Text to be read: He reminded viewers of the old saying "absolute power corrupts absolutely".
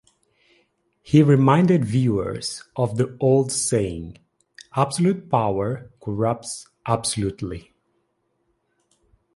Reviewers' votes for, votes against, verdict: 2, 0, accepted